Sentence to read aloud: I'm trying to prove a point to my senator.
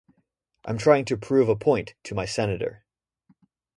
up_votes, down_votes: 2, 0